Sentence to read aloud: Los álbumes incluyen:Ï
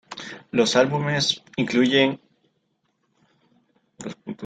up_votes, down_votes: 2, 0